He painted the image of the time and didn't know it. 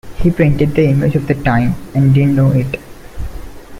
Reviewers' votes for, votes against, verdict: 2, 0, accepted